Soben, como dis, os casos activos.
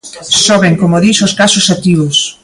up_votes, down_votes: 2, 0